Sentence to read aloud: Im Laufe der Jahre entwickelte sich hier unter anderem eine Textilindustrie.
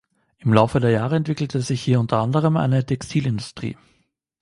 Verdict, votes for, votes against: accepted, 2, 0